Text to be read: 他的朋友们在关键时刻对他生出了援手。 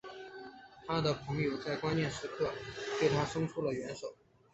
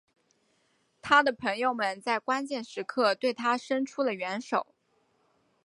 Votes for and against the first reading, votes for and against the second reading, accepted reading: 2, 3, 4, 0, second